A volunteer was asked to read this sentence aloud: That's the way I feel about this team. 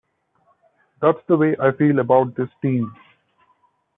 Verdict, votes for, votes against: accepted, 3, 0